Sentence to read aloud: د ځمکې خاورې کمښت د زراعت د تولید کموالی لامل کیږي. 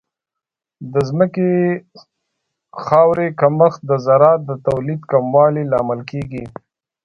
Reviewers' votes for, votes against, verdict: 2, 0, accepted